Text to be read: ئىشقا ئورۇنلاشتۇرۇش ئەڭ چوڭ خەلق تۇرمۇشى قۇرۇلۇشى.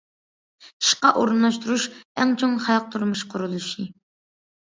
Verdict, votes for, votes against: accepted, 2, 0